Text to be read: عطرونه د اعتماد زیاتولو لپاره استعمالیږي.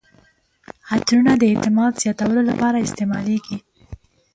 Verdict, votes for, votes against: rejected, 1, 3